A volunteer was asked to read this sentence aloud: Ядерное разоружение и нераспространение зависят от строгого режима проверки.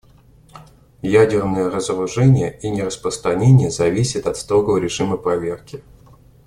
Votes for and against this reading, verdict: 2, 0, accepted